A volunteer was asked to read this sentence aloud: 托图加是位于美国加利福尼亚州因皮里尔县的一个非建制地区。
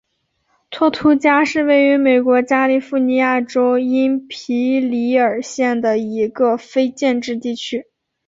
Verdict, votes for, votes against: accepted, 2, 1